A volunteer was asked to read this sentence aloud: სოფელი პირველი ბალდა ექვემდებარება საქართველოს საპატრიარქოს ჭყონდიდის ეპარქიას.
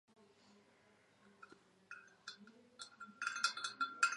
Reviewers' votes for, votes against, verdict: 0, 2, rejected